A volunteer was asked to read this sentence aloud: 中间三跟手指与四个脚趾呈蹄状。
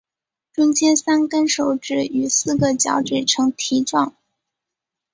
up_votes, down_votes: 3, 0